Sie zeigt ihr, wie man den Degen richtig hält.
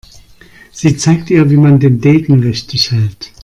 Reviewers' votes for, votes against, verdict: 2, 1, accepted